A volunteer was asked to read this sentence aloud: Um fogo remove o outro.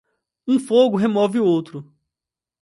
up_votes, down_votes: 2, 0